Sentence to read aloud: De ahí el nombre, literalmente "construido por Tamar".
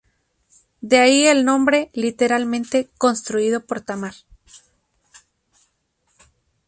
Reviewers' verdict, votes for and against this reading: accepted, 4, 0